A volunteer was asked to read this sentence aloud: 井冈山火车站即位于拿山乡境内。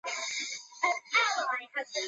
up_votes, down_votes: 0, 3